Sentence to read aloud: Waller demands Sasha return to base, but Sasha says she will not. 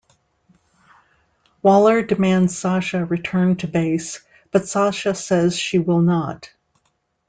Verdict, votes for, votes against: accepted, 2, 0